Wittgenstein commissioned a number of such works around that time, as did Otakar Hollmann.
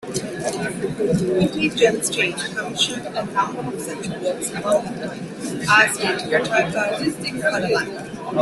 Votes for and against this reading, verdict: 0, 2, rejected